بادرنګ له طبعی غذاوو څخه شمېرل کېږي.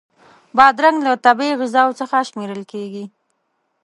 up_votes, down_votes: 2, 0